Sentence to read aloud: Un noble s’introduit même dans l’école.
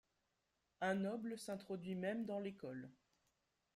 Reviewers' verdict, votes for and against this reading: accepted, 2, 1